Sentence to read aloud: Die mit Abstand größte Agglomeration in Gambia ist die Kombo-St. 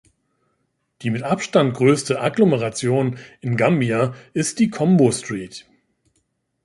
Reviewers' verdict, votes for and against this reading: accepted, 2, 0